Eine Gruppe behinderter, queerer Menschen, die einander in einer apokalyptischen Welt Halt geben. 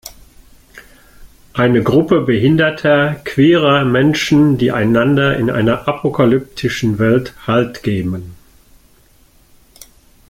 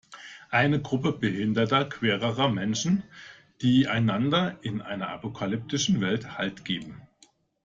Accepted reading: first